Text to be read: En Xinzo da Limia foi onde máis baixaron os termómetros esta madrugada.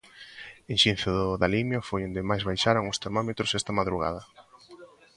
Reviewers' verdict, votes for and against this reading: accepted, 2, 1